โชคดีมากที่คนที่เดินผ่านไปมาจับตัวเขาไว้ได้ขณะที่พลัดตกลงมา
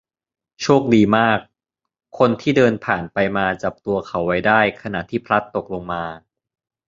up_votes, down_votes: 0, 2